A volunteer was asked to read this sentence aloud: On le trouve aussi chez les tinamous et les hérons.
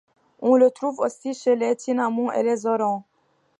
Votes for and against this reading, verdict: 2, 0, accepted